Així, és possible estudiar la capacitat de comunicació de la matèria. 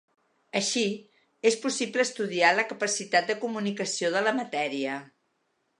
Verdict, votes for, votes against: accepted, 2, 0